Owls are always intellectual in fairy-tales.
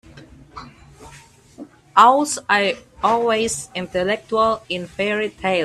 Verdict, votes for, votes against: rejected, 0, 2